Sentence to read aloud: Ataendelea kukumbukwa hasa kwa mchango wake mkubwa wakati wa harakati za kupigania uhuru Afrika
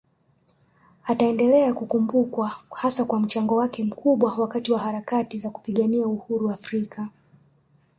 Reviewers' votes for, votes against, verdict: 1, 2, rejected